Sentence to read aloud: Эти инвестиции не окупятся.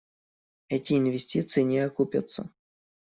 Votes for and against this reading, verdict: 2, 0, accepted